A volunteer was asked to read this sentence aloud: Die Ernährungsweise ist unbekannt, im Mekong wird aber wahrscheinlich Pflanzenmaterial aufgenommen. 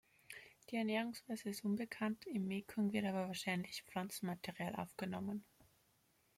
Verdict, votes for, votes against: accepted, 3, 1